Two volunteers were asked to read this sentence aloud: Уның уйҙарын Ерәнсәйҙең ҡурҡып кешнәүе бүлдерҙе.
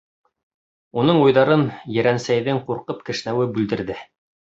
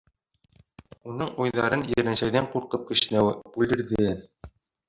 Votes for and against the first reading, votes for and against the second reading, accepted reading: 2, 0, 1, 2, first